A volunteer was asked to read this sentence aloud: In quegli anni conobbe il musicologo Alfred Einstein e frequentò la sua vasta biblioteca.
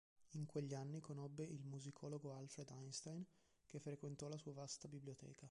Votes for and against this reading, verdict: 1, 2, rejected